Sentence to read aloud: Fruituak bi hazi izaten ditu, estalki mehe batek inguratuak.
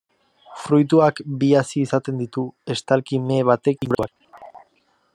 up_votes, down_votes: 0, 2